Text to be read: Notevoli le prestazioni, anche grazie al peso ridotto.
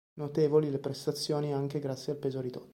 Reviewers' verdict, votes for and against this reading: rejected, 1, 2